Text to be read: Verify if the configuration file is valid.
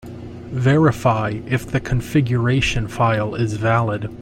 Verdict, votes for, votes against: accepted, 2, 0